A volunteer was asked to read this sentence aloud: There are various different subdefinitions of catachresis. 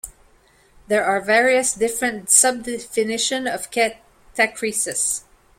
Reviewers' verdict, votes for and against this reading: rejected, 1, 2